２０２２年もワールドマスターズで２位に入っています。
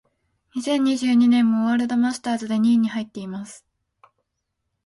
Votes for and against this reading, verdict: 0, 2, rejected